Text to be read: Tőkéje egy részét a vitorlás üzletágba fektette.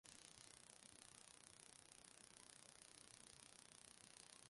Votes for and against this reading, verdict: 0, 2, rejected